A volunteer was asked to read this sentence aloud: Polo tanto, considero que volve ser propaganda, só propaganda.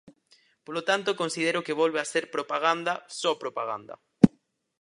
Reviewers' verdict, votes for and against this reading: rejected, 0, 4